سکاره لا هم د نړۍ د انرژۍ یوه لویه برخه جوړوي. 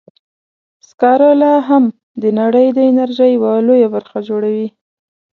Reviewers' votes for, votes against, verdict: 2, 0, accepted